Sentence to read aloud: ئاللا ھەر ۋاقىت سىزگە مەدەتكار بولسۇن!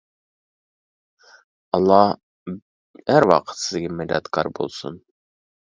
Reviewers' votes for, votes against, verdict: 1, 2, rejected